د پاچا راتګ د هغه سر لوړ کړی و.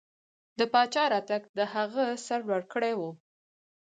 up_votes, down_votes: 4, 0